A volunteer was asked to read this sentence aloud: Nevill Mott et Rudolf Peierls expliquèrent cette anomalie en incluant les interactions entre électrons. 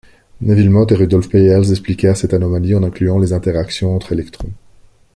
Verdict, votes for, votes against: accepted, 2, 0